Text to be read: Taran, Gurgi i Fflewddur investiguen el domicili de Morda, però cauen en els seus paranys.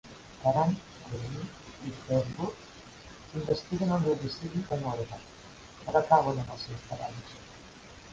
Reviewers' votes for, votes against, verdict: 1, 2, rejected